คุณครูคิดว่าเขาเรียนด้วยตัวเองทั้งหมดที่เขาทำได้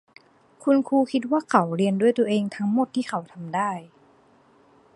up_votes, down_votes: 2, 0